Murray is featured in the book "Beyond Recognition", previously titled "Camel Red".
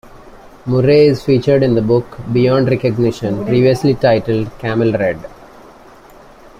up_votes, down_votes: 2, 0